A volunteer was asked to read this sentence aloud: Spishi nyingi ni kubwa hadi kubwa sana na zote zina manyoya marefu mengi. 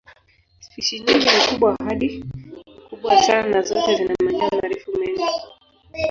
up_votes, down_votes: 0, 2